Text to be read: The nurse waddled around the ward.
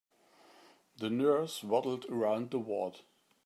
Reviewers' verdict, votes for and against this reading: accepted, 3, 0